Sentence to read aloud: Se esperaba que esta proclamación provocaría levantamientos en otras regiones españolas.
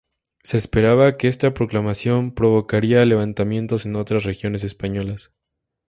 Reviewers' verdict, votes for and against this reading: accepted, 2, 0